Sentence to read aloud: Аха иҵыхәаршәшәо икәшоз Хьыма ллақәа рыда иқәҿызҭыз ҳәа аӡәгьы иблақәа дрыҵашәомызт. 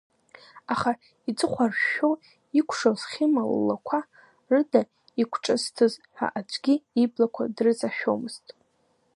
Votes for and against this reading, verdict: 2, 1, accepted